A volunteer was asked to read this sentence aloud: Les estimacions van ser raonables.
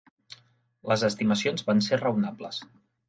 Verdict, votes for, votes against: accepted, 3, 0